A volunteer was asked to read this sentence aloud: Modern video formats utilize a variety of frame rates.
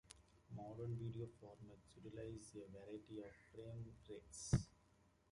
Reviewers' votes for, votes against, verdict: 0, 3, rejected